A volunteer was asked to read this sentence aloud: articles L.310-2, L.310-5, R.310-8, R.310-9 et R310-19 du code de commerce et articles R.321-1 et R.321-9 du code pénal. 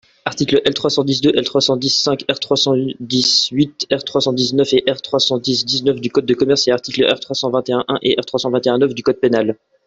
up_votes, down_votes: 0, 2